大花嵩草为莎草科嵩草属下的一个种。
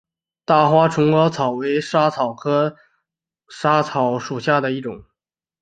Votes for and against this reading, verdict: 2, 1, accepted